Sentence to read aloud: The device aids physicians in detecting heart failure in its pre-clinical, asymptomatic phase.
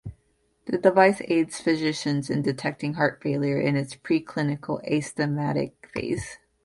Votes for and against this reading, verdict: 1, 2, rejected